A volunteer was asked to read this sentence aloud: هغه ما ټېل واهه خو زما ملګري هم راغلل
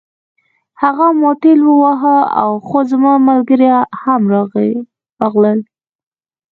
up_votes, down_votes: 2, 1